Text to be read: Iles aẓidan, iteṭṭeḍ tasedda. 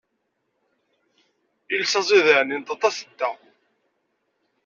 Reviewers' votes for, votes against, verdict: 1, 2, rejected